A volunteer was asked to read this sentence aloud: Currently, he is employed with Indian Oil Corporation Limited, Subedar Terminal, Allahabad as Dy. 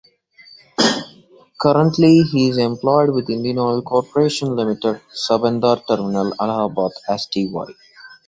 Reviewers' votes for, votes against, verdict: 2, 0, accepted